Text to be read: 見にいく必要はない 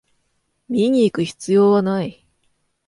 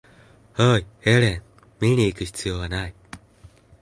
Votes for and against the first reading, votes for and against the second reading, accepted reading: 2, 0, 0, 2, first